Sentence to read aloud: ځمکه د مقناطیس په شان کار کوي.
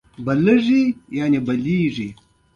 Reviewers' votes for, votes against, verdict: 2, 1, accepted